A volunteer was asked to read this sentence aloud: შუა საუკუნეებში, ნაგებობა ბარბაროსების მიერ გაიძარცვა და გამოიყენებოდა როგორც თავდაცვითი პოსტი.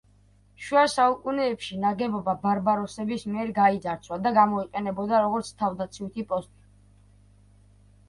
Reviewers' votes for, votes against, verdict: 2, 0, accepted